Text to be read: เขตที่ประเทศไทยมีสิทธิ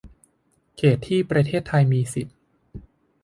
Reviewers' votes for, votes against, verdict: 0, 2, rejected